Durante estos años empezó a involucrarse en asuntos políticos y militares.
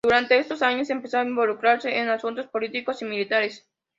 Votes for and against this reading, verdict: 2, 0, accepted